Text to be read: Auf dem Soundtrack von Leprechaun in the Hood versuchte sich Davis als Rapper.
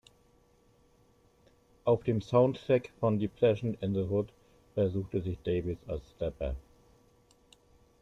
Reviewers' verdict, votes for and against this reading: accepted, 2, 1